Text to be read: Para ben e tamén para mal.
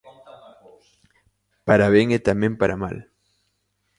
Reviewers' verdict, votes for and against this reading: accepted, 2, 0